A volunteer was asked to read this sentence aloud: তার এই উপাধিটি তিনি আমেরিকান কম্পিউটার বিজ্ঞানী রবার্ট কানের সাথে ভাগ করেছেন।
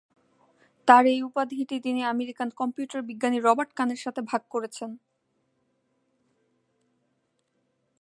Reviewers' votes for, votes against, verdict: 2, 0, accepted